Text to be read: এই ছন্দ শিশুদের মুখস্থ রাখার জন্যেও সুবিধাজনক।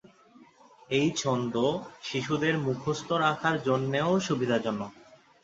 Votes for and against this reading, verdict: 9, 0, accepted